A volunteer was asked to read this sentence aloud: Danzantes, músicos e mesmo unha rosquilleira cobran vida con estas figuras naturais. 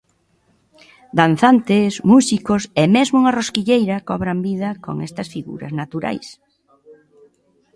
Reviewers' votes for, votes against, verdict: 2, 0, accepted